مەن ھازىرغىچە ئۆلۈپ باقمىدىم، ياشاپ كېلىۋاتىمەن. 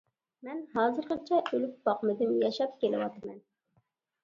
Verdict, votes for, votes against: accepted, 2, 0